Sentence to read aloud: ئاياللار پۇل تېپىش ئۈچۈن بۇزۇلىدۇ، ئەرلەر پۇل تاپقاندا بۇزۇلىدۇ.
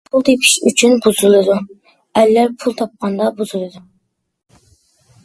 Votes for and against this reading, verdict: 0, 2, rejected